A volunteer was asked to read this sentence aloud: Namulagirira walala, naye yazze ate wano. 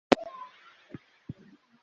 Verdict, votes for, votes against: rejected, 0, 2